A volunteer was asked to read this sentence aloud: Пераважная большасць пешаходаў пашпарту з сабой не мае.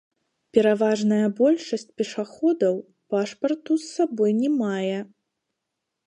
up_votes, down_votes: 0, 2